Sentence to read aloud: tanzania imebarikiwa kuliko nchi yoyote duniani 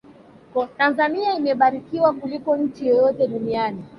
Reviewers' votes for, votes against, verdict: 2, 0, accepted